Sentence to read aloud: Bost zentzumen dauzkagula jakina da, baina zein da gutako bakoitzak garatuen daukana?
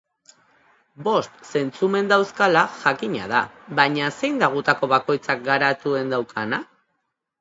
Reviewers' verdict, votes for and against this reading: rejected, 0, 2